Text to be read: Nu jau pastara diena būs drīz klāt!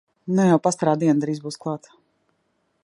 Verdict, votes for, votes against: rejected, 1, 2